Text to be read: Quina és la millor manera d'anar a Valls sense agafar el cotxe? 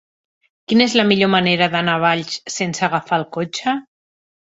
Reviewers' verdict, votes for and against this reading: accepted, 3, 0